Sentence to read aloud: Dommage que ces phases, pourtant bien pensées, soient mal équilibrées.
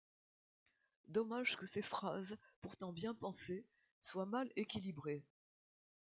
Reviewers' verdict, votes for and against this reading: accepted, 2, 1